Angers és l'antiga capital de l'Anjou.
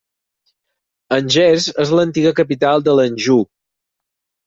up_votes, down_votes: 4, 0